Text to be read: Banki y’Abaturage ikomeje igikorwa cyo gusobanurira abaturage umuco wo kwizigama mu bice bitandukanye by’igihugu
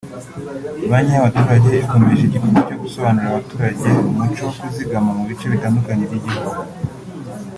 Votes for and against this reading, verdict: 1, 2, rejected